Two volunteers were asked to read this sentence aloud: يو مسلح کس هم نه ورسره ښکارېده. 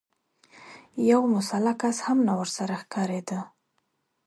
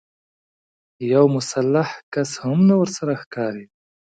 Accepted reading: first